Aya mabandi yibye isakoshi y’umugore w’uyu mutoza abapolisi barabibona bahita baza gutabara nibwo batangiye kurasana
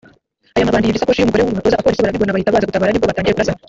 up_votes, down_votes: 0, 2